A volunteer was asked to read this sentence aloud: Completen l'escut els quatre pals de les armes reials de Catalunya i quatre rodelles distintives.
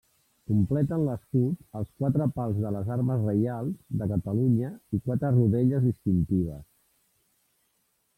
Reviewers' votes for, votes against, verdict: 1, 2, rejected